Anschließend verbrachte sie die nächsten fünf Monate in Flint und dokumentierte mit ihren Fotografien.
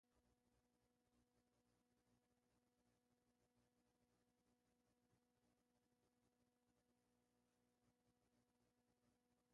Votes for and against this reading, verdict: 0, 2, rejected